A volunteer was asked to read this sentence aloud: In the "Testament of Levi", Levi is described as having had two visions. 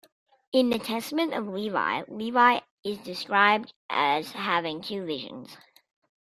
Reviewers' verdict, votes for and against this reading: rejected, 0, 2